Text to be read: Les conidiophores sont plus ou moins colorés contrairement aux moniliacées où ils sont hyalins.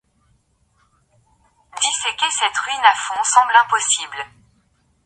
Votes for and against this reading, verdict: 0, 2, rejected